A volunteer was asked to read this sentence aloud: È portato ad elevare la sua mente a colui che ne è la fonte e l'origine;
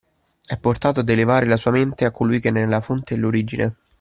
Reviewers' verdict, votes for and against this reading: accepted, 2, 0